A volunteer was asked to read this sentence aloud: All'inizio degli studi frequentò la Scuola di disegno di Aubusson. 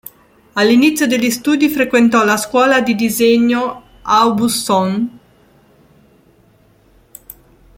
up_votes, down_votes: 1, 3